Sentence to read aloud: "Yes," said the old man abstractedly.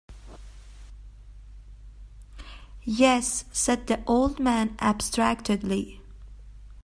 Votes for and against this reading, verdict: 2, 0, accepted